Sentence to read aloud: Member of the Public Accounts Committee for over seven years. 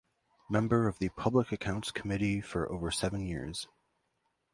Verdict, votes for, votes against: accepted, 2, 0